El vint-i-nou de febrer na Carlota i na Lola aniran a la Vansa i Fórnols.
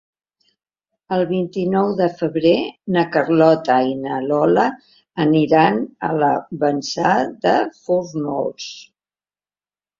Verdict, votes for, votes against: rejected, 1, 2